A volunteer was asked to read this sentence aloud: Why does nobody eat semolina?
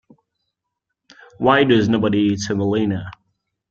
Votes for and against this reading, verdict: 2, 0, accepted